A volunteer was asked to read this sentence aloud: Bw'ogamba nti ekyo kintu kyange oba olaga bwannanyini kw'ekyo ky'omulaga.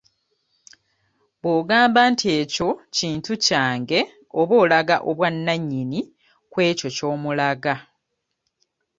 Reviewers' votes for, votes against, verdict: 1, 2, rejected